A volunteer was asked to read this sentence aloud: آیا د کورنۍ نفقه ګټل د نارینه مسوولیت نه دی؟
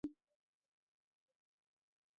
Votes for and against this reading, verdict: 1, 2, rejected